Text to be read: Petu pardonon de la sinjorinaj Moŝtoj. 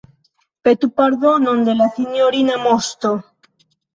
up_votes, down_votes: 1, 2